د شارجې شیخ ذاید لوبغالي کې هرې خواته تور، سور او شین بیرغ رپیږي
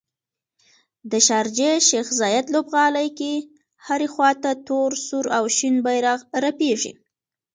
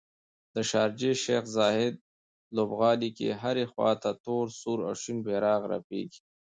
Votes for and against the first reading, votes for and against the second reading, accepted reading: 1, 2, 2, 0, second